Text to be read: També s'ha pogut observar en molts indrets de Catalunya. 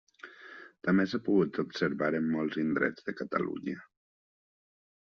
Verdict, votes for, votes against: accepted, 3, 0